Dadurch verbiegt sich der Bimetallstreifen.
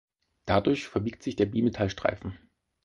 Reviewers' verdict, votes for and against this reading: accepted, 4, 0